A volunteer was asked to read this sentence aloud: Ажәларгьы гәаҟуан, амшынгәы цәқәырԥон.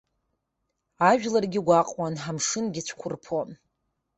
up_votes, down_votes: 1, 2